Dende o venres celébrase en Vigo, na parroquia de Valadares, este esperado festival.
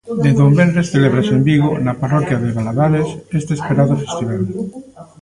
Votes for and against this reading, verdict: 0, 2, rejected